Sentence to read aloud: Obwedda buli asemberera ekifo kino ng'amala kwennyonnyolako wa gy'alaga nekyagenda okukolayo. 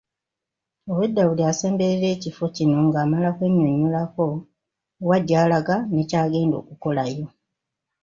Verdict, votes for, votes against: accepted, 2, 0